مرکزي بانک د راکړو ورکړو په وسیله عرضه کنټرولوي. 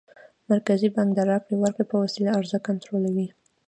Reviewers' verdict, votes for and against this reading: accepted, 2, 1